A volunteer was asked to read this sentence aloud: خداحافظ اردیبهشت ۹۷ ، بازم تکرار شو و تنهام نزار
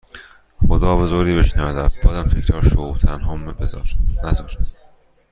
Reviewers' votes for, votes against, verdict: 0, 2, rejected